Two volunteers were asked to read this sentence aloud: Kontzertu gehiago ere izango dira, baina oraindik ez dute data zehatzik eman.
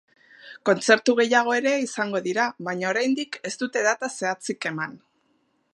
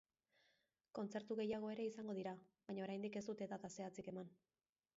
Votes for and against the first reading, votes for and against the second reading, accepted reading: 2, 1, 1, 2, first